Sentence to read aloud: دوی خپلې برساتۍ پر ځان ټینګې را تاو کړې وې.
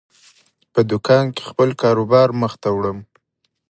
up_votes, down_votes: 1, 2